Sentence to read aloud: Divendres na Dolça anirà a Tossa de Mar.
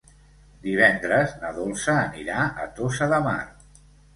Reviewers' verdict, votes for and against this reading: accepted, 2, 0